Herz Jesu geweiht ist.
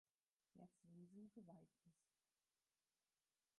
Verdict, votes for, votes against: rejected, 0, 4